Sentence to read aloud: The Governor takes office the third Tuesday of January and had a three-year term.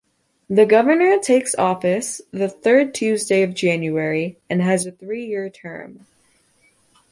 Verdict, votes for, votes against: rejected, 0, 2